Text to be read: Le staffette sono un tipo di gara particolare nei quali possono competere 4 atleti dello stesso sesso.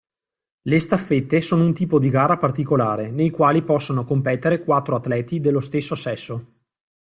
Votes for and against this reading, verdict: 0, 2, rejected